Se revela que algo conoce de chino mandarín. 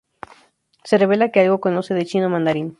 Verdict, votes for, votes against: accepted, 2, 0